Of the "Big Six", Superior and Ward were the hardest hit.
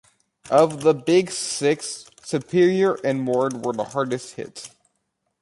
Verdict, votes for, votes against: accepted, 2, 0